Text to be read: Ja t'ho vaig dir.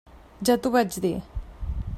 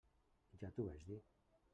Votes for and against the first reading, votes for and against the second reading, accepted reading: 3, 0, 1, 2, first